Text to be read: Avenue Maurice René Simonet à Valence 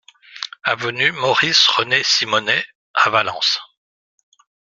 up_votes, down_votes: 2, 0